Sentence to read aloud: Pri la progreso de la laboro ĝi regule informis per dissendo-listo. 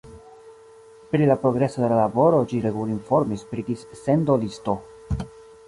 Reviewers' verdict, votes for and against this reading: rejected, 1, 2